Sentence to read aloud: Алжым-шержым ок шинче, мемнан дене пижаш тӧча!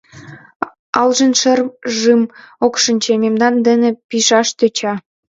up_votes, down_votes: 0, 2